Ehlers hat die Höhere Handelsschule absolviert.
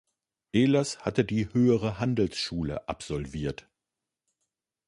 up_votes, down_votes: 1, 2